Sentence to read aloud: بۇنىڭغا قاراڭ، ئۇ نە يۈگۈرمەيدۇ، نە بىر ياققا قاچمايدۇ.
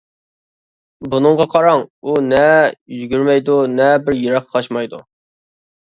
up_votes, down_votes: 1, 2